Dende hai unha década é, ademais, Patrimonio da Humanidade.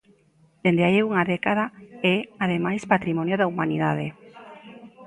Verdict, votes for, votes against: accepted, 2, 0